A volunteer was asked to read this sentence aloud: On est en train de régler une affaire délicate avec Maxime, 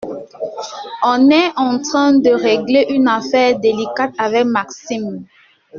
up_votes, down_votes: 2, 0